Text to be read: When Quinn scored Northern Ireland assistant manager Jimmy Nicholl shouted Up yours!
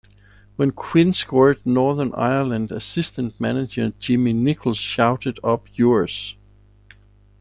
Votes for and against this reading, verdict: 2, 0, accepted